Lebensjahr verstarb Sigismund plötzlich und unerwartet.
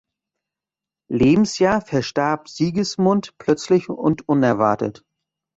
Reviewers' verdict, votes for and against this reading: accepted, 2, 0